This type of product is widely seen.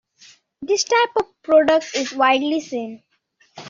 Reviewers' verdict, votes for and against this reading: accepted, 2, 1